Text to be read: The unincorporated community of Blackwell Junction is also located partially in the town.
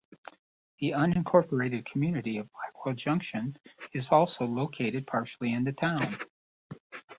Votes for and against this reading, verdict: 2, 0, accepted